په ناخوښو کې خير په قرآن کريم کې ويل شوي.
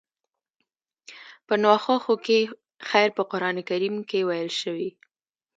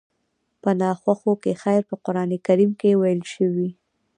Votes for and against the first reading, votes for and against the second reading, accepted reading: 2, 1, 1, 2, first